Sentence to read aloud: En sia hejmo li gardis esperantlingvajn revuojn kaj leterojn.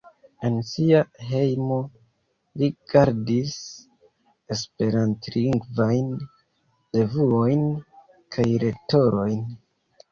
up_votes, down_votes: 1, 2